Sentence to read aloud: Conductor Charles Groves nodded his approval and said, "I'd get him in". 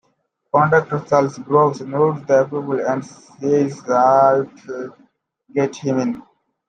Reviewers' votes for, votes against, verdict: 0, 2, rejected